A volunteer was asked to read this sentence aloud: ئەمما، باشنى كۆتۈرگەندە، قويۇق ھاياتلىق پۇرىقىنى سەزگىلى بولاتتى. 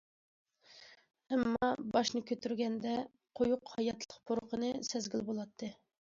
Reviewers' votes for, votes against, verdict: 2, 0, accepted